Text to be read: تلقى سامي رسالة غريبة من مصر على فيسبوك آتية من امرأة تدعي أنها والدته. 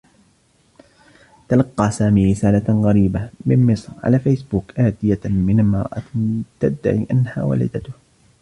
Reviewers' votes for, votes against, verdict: 2, 1, accepted